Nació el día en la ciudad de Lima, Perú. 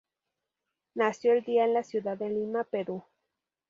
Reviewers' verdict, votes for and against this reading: accepted, 4, 0